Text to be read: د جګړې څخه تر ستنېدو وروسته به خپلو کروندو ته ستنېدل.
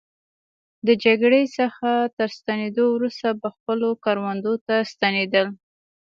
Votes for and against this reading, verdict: 2, 0, accepted